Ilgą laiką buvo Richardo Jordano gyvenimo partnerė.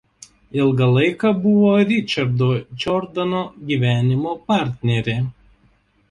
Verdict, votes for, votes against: accepted, 2, 1